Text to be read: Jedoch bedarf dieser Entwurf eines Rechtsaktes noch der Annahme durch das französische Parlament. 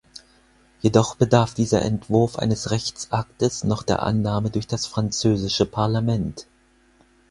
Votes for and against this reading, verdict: 4, 0, accepted